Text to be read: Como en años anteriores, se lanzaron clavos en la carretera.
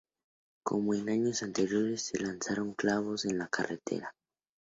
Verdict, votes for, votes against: accepted, 2, 0